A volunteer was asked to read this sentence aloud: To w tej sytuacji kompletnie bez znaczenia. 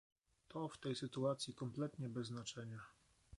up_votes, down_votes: 2, 0